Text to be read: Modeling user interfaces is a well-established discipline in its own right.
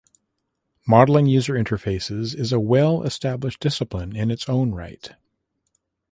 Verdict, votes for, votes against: accepted, 2, 0